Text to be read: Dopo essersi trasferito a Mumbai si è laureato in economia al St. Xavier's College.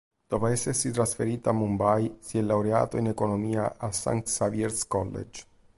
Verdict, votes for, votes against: accepted, 2, 0